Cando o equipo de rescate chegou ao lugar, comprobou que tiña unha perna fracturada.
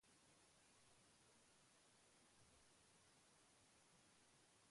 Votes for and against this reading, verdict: 0, 2, rejected